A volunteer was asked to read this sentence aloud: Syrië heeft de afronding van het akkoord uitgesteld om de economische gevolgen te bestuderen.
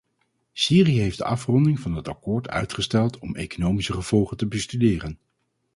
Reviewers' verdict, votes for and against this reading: rejected, 2, 2